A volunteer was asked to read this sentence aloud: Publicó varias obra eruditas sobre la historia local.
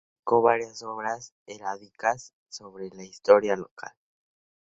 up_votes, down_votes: 0, 2